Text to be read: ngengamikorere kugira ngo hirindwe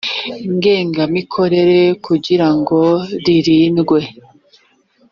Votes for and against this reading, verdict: 0, 2, rejected